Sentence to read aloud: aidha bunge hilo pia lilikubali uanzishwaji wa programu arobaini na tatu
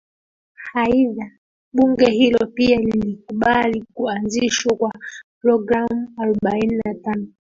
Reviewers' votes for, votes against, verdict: 1, 2, rejected